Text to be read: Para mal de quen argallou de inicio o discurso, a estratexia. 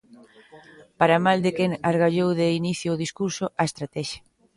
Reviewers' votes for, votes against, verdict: 0, 2, rejected